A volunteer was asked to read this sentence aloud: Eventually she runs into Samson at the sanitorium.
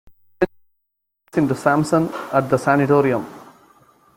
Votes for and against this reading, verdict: 0, 2, rejected